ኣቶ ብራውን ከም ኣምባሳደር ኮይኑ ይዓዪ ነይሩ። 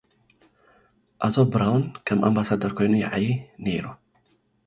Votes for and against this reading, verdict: 2, 0, accepted